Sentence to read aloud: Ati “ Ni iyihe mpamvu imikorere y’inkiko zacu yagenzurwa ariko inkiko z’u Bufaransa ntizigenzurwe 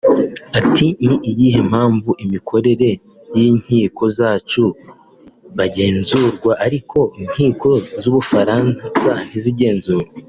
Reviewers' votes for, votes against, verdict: 0, 2, rejected